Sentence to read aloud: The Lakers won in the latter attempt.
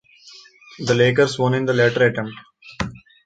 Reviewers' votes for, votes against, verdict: 2, 1, accepted